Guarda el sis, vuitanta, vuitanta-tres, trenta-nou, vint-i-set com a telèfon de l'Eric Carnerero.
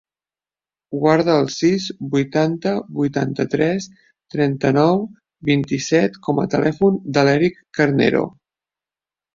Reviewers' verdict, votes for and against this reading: rejected, 0, 2